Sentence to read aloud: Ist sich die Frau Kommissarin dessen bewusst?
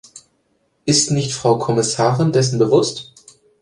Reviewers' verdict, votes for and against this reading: rejected, 0, 2